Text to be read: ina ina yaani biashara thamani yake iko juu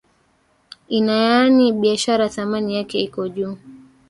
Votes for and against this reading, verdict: 1, 2, rejected